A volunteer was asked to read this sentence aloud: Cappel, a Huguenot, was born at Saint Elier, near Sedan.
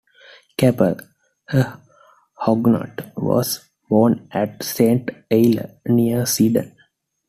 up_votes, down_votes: 2, 1